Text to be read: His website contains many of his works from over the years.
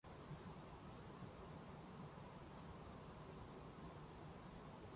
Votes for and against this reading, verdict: 0, 2, rejected